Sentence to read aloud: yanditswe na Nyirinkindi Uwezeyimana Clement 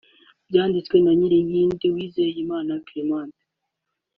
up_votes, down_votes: 2, 1